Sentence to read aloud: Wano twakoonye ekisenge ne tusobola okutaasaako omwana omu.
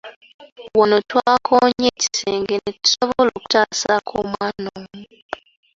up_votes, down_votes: 3, 1